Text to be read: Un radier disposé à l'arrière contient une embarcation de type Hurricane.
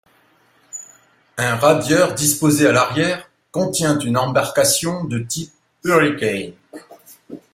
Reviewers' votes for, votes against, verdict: 1, 2, rejected